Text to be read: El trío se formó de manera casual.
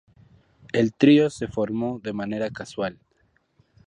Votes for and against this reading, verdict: 2, 0, accepted